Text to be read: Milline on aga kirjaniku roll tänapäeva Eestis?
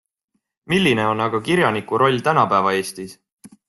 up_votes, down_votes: 2, 0